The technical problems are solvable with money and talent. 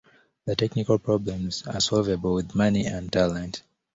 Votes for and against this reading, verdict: 2, 0, accepted